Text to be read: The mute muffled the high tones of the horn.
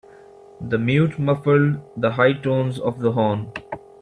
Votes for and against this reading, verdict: 2, 1, accepted